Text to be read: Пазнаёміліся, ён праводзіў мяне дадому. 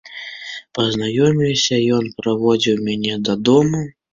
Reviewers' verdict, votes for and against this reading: accepted, 2, 0